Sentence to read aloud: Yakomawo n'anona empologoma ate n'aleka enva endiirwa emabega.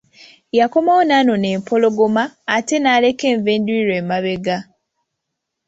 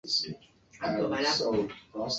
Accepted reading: first